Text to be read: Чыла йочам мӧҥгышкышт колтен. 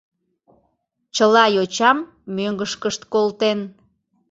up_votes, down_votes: 3, 0